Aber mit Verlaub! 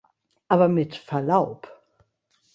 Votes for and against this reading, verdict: 2, 0, accepted